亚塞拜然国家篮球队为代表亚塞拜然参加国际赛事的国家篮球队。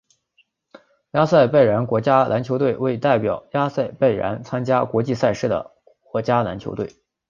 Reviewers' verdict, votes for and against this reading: accepted, 4, 0